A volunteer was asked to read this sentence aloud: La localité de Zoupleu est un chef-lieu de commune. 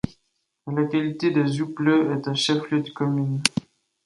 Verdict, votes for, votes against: rejected, 1, 2